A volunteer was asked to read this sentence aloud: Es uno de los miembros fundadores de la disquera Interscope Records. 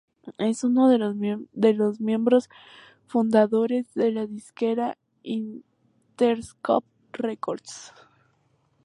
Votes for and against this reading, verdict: 0, 2, rejected